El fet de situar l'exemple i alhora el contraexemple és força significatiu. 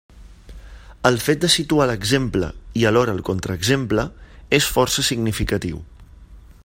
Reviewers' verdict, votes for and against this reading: accepted, 3, 0